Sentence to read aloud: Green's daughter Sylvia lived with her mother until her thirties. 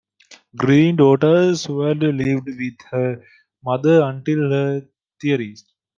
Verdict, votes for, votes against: rejected, 0, 2